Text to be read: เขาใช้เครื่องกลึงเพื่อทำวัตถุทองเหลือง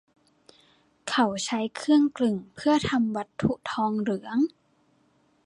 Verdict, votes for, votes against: accepted, 2, 0